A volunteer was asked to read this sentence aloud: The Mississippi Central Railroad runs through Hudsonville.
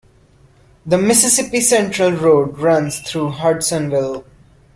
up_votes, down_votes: 1, 2